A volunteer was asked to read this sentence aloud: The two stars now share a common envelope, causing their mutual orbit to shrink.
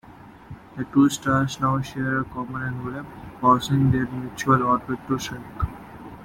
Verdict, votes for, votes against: rejected, 1, 2